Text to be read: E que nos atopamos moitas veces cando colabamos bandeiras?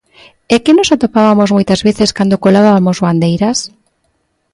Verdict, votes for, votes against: rejected, 0, 2